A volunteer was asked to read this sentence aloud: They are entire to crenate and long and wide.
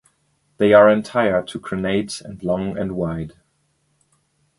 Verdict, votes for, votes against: accepted, 2, 0